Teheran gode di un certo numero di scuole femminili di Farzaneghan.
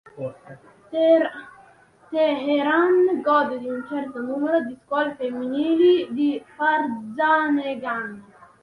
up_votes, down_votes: 0, 2